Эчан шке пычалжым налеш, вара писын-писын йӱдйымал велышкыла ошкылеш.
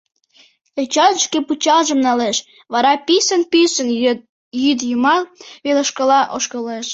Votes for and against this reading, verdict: 1, 2, rejected